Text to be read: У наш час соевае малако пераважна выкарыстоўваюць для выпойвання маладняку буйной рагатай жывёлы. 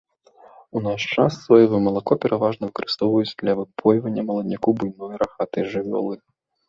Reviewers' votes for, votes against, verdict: 2, 0, accepted